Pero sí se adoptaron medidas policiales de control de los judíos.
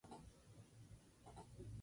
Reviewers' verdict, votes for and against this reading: rejected, 0, 2